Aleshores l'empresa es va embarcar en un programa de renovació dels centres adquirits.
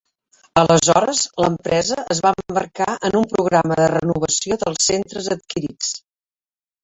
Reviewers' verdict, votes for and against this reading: rejected, 0, 2